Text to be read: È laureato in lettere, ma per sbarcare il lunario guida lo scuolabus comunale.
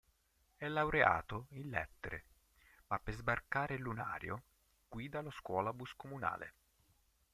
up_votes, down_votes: 3, 4